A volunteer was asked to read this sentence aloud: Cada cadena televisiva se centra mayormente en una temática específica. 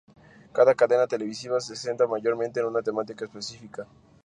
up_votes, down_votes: 2, 0